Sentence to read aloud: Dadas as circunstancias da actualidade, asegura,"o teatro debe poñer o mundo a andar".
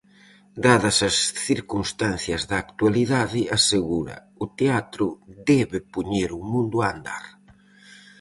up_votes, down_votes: 4, 0